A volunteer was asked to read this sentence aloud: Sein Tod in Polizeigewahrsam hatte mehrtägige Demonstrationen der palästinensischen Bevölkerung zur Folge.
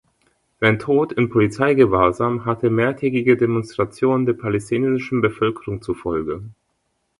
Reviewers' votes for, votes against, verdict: 1, 2, rejected